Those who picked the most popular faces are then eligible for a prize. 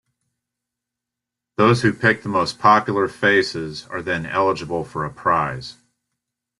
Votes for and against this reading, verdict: 2, 0, accepted